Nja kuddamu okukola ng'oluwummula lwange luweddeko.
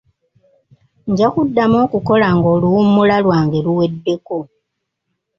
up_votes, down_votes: 2, 1